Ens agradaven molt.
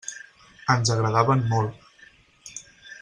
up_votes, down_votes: 6, 0